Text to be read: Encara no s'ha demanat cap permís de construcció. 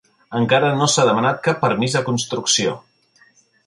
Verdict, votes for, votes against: accepted, 2, 0